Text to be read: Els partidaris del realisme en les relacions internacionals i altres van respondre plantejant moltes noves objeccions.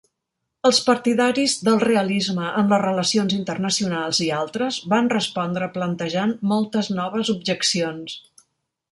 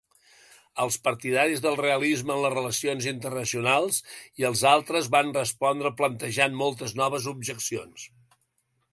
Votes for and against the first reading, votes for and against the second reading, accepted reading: 3, 1, 2, 3, first